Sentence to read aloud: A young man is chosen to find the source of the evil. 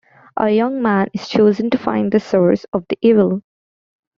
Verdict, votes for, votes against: accepted, 2, 0